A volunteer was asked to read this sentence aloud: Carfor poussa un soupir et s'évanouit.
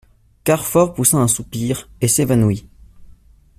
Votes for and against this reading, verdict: 2, 0, accepted